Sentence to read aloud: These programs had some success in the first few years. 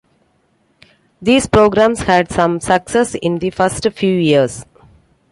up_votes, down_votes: 2, 0